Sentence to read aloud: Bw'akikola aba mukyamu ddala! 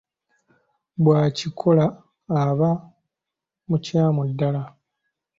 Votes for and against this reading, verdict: 2, 0, accepted